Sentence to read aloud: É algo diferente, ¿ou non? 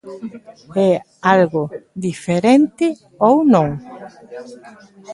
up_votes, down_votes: 0, 2